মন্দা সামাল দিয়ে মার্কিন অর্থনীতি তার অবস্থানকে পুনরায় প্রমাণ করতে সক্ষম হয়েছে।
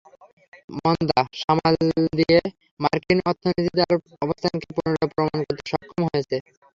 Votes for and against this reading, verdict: 3, 0, accepted